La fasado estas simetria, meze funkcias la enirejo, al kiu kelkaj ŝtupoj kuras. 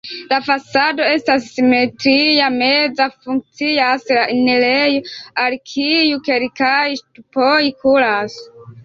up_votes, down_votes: 0, 2